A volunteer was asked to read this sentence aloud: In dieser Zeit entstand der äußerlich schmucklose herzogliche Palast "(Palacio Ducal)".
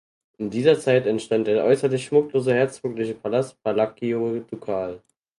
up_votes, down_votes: 0, 4